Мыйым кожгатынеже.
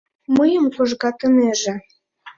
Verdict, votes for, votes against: accepted, 2, 0